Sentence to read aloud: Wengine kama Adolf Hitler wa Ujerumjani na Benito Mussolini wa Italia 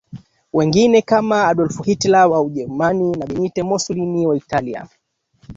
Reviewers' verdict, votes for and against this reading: rejected, 1, 2